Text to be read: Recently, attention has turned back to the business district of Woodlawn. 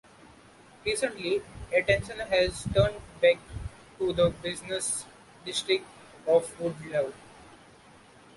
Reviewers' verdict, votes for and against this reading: accepted, 2, 1